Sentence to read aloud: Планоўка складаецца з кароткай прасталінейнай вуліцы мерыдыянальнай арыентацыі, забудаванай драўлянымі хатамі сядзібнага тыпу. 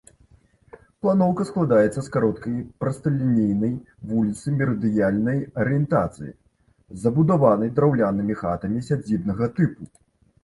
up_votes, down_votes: 2, 0